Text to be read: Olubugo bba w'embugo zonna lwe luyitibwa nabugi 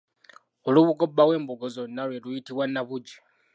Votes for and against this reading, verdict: 2, 1, accepted